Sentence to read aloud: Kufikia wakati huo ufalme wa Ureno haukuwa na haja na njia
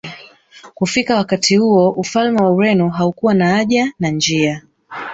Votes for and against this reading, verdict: 1, 2, rejected